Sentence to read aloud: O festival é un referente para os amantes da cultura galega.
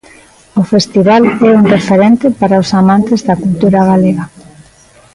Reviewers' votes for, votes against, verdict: 2, 0, accepted